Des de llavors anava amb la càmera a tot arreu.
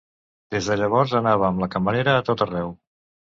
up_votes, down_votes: 0, 2